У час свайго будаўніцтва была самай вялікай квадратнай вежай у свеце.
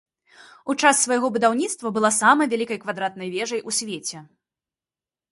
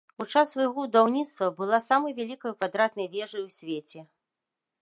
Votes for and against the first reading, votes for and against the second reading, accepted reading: 2, 0, 0, 2, first